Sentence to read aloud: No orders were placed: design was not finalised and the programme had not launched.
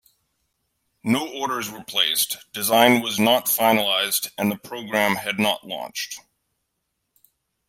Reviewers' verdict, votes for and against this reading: rejected, 1, 2